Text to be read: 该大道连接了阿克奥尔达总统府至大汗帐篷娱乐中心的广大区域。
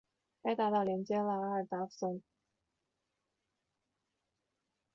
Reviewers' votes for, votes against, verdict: 0, 2, rejected